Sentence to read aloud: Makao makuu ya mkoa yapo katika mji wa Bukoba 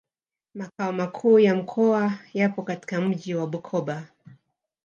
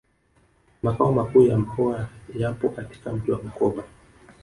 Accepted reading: second